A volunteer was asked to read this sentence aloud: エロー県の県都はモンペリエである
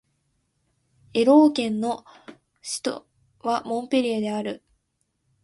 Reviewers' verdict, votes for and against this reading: rejected, 0, 2